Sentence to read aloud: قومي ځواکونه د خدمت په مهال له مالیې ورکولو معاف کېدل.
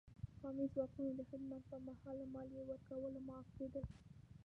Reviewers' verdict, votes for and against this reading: rejected, 0, 2